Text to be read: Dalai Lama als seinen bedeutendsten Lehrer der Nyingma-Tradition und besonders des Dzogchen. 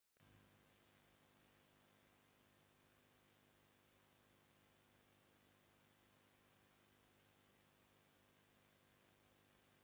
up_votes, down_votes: 0, 2